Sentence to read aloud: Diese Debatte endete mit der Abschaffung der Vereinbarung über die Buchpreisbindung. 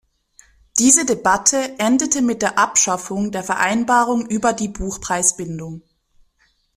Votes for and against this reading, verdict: 2, 1, accepted